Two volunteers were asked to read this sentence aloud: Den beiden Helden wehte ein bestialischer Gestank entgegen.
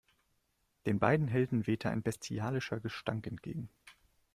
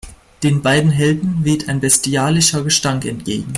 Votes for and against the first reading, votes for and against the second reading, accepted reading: 2, 0, 0, 2, first